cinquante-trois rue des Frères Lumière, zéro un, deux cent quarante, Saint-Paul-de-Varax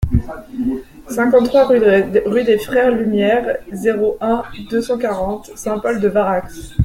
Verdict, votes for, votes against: rejected, 1, 3